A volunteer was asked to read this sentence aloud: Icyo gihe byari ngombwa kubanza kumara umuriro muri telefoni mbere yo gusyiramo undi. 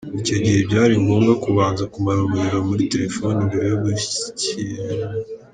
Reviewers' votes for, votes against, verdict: 1, 2, rejected